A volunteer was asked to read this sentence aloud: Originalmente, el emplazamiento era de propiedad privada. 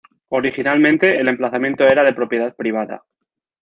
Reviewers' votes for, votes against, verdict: 2, 0, accepted